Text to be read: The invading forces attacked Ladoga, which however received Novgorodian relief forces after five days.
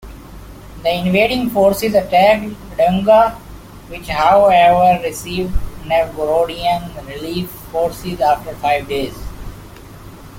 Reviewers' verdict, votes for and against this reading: rejected, 1, 2